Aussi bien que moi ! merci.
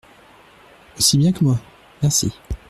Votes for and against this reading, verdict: 2, 0, accepted